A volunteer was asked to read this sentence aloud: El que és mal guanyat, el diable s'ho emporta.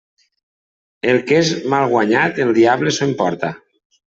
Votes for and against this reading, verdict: 2, 0, accepted